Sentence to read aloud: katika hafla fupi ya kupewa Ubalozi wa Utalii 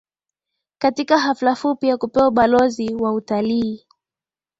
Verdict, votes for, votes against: accepted, 2, 0